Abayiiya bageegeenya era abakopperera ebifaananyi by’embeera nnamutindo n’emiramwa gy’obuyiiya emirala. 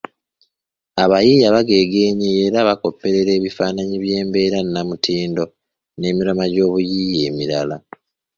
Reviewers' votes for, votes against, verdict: 1, 2, rejected